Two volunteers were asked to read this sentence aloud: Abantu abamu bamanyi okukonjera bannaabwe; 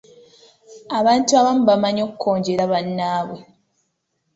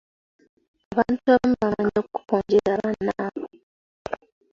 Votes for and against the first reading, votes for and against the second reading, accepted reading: 2, 0, 1, 2, first